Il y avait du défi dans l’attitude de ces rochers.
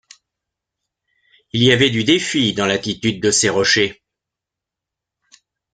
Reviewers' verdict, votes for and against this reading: accepted, 2, 0